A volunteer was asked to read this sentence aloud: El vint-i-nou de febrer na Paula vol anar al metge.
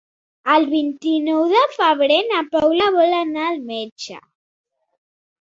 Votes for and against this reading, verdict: 4, 0, accepted